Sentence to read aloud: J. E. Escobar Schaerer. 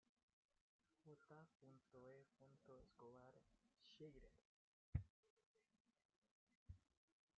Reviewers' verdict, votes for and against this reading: rejected, 0, 2